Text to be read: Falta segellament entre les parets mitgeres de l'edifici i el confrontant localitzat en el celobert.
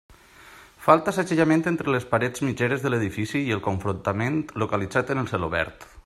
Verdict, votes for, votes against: rejected, 0, 2